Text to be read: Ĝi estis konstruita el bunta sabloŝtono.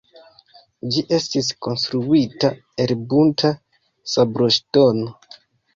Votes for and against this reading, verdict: 2, 1, accepted